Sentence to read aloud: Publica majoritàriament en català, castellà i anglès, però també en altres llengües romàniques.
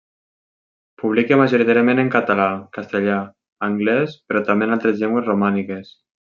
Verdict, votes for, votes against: rejected, 0, 2